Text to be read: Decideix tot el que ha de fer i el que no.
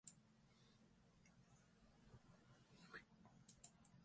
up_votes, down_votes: 1, 2